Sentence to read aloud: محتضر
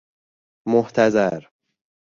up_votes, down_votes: 2, 0